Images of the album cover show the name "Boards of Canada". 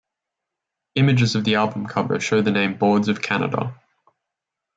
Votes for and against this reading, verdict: 2, 0, accepted